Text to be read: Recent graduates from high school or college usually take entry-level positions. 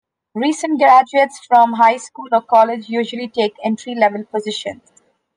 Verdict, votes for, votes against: accepted, 2, 0